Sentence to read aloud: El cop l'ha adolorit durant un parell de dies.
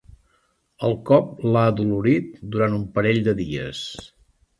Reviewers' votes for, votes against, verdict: 4, 0, accepted